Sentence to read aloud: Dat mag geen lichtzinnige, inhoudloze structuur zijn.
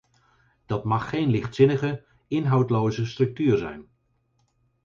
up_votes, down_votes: 4, 0